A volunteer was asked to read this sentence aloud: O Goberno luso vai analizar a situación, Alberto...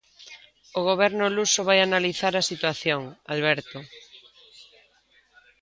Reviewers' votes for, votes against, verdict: 2, 1, accepted